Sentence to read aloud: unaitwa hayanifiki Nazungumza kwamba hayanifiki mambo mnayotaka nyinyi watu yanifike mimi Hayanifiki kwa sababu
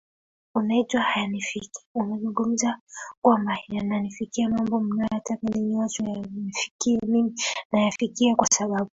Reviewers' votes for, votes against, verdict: 1, 2, rejected